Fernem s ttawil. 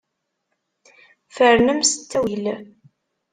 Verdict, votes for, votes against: accepted, 2, 0